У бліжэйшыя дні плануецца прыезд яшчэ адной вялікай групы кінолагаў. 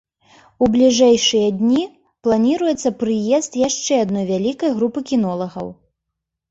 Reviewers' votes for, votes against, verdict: 1, 2, rejected